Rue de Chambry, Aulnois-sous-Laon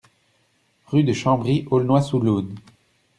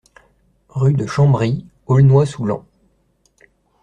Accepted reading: second